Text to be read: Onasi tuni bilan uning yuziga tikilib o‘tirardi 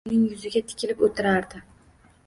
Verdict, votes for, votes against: rejected, 1, 2